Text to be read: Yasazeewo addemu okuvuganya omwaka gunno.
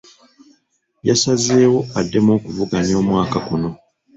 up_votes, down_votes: 2, 1